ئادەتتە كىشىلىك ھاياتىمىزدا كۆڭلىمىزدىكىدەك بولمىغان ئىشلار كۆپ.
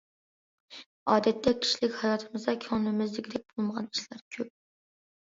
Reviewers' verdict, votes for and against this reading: accepted, 2, 0